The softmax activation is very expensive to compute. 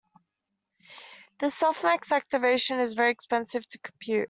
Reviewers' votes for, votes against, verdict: 2, 0, accepted